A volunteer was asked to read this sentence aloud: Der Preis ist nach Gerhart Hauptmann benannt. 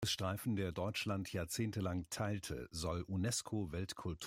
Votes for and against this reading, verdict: 0, 2, rejected